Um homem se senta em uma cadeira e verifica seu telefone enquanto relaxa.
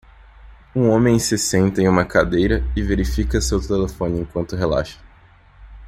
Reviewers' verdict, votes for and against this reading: accepted, 2, 0